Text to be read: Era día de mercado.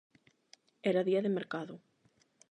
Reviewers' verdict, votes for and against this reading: accepted, 8, 0